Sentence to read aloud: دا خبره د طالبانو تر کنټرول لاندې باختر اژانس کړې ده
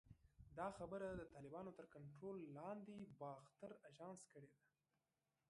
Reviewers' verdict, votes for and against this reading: rejected, 1, 2